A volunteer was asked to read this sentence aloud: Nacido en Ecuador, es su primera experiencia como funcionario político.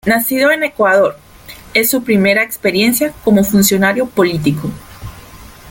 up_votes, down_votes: 2, 0